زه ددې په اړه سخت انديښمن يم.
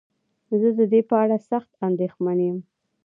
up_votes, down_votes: 1, 2